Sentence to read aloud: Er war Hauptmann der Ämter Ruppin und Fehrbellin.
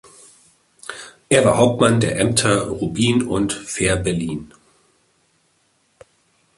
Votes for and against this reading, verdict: 0, 2, rejected